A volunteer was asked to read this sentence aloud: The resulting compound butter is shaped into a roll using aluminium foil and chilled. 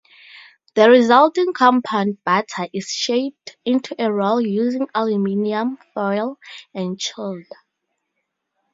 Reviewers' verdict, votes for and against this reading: accepted, 4, 0